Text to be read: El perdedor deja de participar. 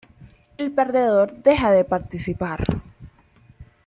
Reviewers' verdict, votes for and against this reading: accepted, 2, 0